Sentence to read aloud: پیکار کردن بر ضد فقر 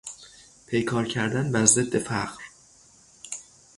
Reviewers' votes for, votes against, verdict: 3, 0, accepted